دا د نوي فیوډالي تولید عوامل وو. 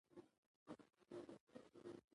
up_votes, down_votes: 2, 0